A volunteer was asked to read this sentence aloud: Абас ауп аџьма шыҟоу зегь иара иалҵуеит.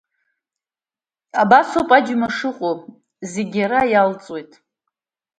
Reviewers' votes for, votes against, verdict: 2, 0, accepted